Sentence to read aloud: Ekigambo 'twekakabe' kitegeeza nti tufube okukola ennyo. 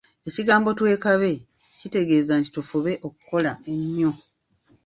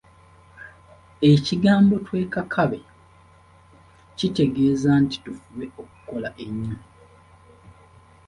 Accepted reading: second